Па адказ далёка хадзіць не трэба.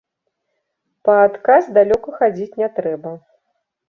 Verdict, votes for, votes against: accepted, 2, 0